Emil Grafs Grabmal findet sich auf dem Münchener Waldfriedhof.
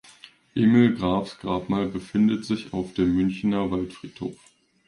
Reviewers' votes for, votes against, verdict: 1, 2, rejected